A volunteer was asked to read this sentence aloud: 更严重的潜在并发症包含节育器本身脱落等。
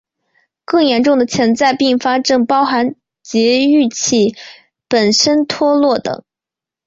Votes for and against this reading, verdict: 2, 0, accepted